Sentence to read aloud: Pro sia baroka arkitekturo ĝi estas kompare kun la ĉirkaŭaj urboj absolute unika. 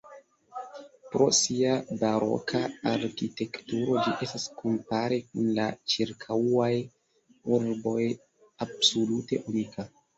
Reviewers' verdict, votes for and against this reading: rejected, 0, 2